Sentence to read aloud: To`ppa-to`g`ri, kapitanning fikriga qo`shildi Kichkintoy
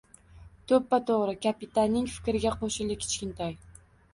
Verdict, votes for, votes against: accepted, 2, 0